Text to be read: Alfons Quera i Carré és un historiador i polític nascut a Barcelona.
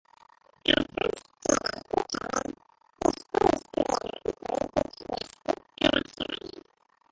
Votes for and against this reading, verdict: 0, 2, rejected